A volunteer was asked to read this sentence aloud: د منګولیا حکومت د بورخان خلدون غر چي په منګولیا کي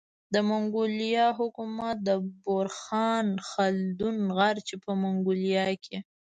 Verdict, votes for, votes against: accepted, 2, 0